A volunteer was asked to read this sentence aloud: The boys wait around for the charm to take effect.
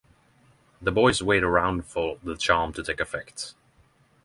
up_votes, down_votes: 3, 0